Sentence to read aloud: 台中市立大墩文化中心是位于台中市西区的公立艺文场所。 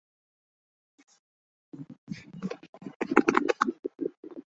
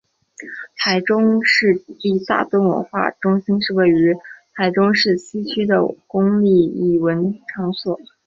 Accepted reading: second